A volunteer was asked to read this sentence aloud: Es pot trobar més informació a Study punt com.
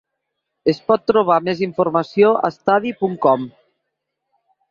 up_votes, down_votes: 2, 0